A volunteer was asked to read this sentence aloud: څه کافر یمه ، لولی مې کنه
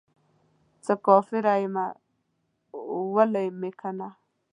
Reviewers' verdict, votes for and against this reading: rejected, 0, 2